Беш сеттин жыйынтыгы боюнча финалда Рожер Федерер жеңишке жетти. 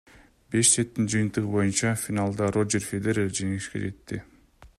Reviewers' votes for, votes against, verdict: 2, 0, accepted